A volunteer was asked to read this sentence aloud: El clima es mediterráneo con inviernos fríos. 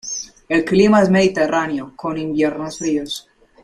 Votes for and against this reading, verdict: 3, 0, accepted